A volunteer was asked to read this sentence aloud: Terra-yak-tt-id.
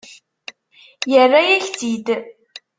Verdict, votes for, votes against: rejected, 0, 2